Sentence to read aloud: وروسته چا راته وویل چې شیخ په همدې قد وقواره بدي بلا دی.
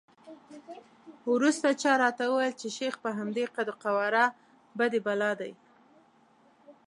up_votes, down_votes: 2, 0